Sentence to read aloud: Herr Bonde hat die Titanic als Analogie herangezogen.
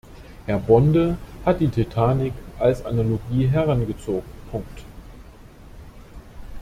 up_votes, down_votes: 1, 2